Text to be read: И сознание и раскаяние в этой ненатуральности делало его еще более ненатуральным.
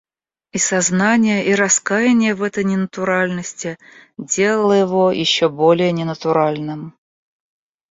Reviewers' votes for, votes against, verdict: 2, 0, accepted